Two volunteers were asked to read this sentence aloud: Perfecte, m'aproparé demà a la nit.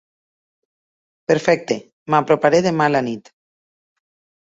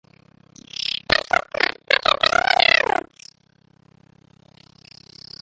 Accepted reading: first